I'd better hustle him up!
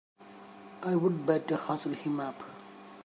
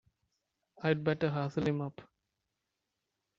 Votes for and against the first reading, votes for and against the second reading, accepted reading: 1, 2, 2, 0, second